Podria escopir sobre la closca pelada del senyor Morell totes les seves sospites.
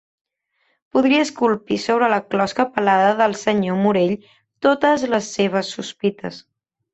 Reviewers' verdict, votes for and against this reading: rejected, 1, 3